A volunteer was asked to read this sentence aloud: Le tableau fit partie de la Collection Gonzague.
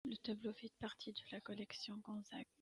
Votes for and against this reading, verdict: 0, 2, rejected